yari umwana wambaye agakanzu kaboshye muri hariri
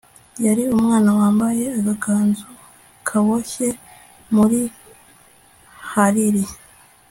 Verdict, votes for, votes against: accepted, 3, 0